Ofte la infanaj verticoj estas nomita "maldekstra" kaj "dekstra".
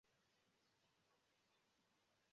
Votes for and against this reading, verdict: 0, 2, rejected